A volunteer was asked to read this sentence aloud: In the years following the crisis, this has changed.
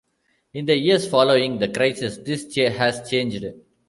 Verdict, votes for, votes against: rejected, 0, 2